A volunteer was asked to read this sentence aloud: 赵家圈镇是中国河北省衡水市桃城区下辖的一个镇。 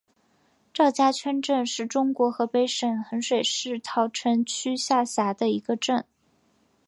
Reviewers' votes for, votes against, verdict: 2, 0, accepted